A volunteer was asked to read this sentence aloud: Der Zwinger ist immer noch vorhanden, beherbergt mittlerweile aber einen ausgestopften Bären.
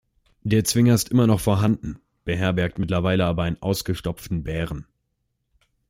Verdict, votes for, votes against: accepted, 2, 0